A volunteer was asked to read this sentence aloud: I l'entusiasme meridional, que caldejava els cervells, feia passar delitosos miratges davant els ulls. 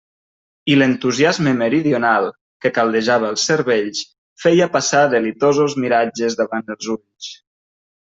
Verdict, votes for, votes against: accepted, 3, 0